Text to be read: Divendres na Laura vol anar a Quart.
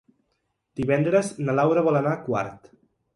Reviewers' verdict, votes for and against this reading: accepted, 3, 0